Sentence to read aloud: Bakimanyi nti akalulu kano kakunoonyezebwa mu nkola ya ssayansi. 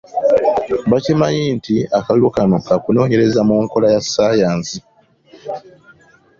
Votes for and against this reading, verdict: 2, 1, accepted